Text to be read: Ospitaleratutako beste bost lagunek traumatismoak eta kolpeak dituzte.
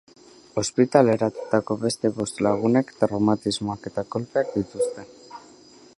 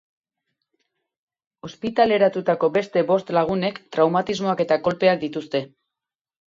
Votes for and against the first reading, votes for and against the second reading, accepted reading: 2, 2, 4, 0, second